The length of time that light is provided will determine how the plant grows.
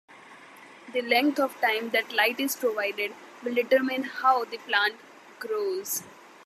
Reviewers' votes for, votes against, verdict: 2, 0, accepted